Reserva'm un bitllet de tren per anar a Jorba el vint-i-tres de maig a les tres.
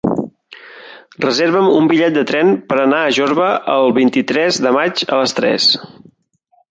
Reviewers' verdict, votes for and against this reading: accepted, 3, 0